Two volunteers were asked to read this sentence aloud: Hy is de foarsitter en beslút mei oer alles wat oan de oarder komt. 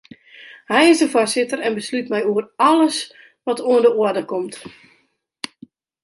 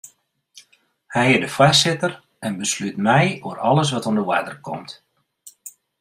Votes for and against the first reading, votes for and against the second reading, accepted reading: 0, 2, 2, 0, second